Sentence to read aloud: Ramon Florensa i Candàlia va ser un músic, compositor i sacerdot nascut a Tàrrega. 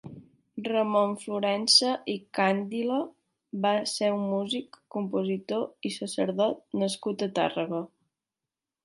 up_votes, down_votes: 1, 3